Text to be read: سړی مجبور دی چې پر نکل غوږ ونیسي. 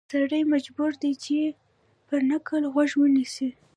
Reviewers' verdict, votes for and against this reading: rejected, 0, 2